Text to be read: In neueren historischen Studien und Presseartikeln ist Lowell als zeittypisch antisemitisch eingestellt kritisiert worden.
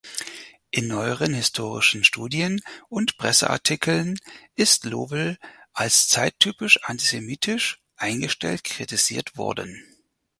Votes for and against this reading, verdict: 0, 4, rejected